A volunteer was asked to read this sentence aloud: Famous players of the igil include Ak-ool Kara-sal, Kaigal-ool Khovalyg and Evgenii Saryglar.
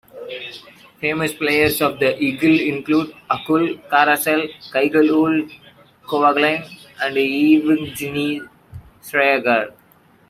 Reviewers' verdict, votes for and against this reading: rejected, 1, 2